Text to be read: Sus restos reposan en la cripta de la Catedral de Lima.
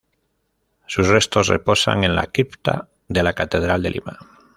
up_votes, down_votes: 1, 2